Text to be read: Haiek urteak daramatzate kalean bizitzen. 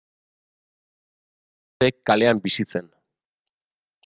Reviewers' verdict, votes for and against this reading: rejected, 0, 2